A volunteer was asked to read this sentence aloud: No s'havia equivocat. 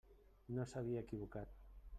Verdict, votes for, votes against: rejected, 1, 2